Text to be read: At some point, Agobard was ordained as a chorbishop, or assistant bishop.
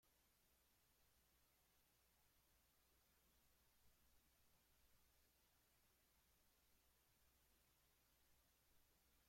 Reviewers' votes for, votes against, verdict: 0, 2, rejected